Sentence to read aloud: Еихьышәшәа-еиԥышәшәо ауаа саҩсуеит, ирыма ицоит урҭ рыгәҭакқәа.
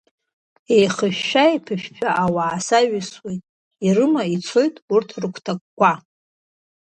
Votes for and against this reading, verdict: 2, 0, accepted